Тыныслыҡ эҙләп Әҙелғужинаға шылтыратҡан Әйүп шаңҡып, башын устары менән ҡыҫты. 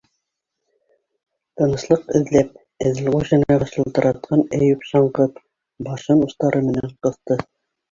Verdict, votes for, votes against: rejected, 0, 2